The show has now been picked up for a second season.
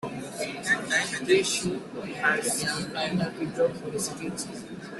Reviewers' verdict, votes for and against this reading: rejected, 0, 2